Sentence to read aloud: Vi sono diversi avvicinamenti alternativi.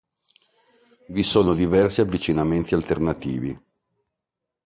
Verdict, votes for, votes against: accepted, 2, 0